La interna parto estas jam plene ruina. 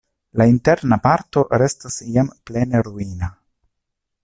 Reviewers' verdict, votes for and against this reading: rejected, 0, 2